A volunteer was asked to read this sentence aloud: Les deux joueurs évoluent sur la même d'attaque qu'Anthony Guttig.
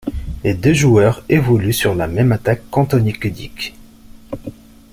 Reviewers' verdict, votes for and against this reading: rejected, 1, 2